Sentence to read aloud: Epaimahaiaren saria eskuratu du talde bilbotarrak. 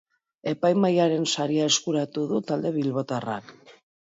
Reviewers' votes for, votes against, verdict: 2, 0, accepted